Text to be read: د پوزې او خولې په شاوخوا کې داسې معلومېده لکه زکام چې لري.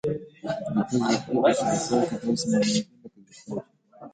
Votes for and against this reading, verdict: 0, 2, rejected